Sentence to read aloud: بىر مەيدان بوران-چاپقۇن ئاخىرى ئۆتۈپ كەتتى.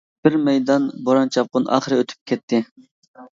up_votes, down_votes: 3, 0